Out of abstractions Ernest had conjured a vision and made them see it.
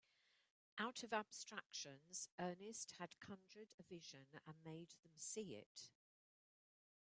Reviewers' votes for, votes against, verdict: 2, 0, accepted